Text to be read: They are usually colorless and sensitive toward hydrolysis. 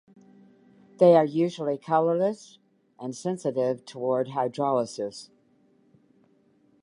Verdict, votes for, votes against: accepted, 2, 0